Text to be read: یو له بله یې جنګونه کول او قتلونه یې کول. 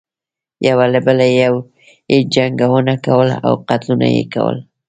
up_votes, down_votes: 1, 2